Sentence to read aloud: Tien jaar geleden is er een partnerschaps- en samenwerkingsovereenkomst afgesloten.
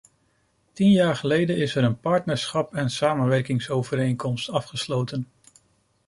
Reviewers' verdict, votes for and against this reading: rejected, 1, 2